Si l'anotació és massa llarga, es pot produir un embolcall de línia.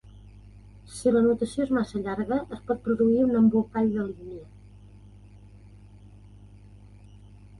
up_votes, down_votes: 0, 2